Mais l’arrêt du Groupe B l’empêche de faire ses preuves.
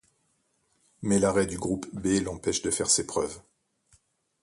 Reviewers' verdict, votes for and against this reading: accepted, 2, 0